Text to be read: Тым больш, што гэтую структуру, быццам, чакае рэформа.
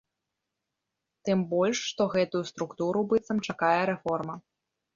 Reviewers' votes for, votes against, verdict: 1, 2, rejected